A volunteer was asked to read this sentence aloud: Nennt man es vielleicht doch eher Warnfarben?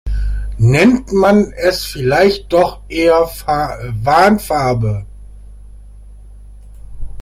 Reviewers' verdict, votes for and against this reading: rejected, 0, 2